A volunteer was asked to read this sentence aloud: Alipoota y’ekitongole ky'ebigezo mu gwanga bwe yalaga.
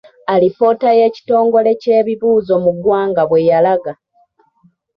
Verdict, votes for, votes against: rejected, 1, 2